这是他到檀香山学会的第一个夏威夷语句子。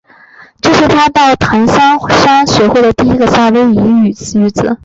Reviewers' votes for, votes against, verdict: 2, 1, accepted